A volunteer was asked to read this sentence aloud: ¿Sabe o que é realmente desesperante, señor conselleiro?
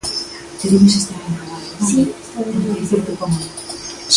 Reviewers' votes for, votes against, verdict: 0, 2, rejected